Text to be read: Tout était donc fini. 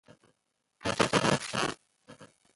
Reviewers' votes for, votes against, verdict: 0, 2, rejected